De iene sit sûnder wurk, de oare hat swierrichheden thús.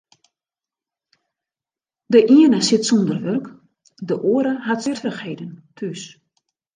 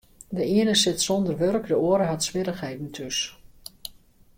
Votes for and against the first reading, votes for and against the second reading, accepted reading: 0, 2, 2, 0, second